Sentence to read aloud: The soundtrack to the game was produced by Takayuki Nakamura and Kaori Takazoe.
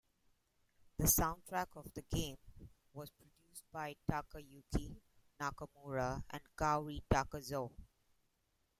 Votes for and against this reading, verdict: 1, 2, rejected